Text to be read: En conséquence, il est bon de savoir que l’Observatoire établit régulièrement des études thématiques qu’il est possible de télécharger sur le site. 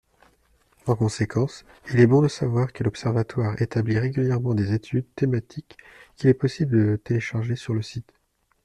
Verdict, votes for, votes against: accepted, 2, 0